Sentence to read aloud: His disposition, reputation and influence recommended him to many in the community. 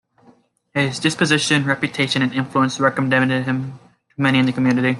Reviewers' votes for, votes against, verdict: 0, 2, rejected